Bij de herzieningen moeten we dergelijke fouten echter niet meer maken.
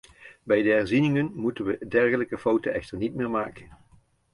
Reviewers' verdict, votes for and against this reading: rejected, 1, 2